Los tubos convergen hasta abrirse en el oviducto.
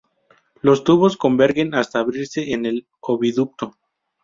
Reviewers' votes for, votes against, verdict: 2, 0, accepted